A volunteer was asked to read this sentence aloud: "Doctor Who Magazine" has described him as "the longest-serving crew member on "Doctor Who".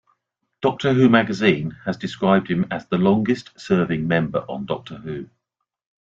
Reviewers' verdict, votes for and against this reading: rejected, 1, 2